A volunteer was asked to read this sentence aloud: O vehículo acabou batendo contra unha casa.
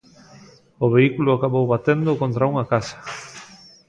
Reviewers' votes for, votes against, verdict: 1, 2, rejected